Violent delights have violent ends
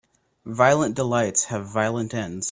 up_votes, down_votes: 2, 0